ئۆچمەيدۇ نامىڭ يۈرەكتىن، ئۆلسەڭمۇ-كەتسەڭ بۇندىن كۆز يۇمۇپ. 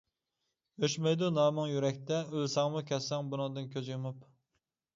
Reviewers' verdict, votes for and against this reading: rejected, 0, 2